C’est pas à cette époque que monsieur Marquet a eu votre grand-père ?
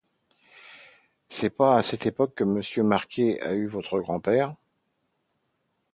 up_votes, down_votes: 2, 0